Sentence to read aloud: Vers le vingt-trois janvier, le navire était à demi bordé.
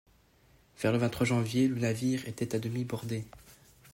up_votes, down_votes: 2, 0